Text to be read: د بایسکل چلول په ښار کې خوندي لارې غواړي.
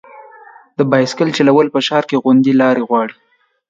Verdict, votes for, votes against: rejected, 2, 3